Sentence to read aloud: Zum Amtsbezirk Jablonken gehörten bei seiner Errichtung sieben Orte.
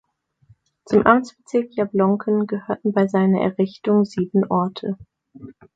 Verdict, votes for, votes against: accepted, 2, 0